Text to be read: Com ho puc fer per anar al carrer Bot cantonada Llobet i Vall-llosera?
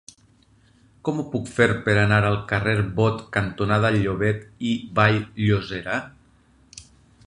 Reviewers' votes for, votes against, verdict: 4, 0, accepted